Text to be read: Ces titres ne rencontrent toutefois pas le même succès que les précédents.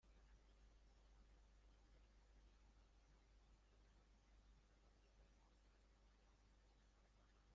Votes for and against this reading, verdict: 0, 2, rejected